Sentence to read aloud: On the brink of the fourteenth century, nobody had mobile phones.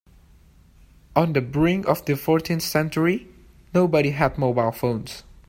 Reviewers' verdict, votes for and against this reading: accepted, 2, 1